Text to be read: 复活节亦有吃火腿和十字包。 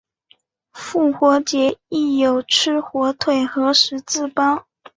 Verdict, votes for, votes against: rejected, 0, 2